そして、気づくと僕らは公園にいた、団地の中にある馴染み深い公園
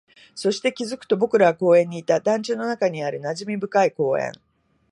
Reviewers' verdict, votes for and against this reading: accepted, 2, 0